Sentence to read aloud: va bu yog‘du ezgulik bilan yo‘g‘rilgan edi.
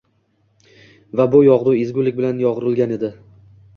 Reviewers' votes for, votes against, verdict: 2, 0, accepted